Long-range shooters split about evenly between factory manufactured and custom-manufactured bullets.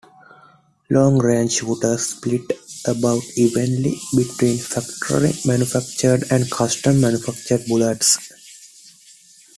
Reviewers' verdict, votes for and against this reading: accepted, 2, 0